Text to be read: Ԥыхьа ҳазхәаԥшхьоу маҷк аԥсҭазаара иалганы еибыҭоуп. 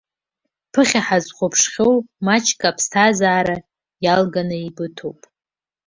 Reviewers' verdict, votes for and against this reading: accepted, 2, 0